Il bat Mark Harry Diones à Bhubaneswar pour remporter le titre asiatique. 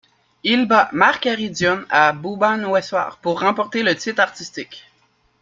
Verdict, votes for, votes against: rejected, 1, 2